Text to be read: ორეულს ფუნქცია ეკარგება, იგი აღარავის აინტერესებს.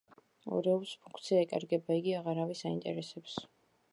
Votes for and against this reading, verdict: 2, 0, accepted